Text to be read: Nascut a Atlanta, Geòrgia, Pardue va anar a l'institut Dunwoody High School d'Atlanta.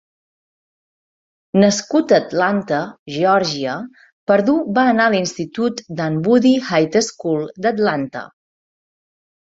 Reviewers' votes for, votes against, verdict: 2, 0, accepted